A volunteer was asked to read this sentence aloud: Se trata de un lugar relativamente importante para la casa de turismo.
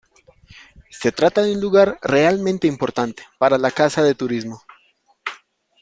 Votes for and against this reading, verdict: 0, 3, rejected